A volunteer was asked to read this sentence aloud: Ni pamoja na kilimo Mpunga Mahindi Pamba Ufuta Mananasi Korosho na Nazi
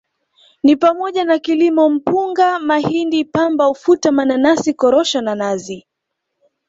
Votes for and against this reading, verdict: 2, 0, accepted